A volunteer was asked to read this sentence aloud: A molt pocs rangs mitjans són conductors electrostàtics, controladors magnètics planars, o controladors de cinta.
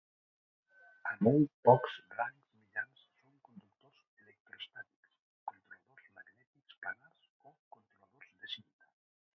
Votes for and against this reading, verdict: 0, 2, rejected